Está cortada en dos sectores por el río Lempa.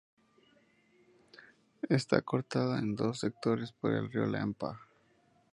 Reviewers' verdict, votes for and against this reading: accepted, 4, 0